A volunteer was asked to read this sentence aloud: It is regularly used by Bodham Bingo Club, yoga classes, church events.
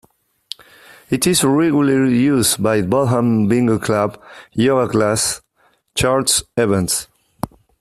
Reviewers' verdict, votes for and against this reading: rejected, 0, 2